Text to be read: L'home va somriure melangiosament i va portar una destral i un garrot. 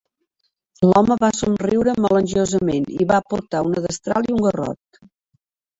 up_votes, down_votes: 2, 0